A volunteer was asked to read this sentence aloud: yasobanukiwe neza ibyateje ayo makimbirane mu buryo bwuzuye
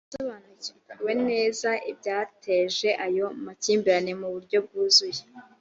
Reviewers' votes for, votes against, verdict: 2, 0, accepted